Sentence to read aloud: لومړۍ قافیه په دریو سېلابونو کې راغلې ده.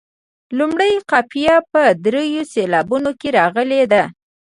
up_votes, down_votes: 2, 0